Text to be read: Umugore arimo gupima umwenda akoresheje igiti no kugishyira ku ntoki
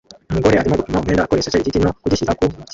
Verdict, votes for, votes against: rejected, 0, 2